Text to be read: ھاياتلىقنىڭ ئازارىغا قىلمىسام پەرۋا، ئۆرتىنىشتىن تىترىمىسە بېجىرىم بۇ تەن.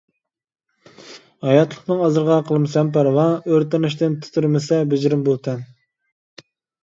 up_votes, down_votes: 1, 2